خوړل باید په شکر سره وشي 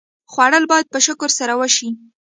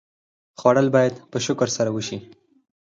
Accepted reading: second